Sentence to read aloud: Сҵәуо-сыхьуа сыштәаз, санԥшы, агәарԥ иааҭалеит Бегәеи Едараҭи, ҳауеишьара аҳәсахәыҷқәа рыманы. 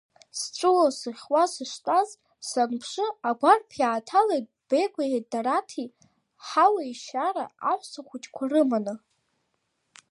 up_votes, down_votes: 2, 1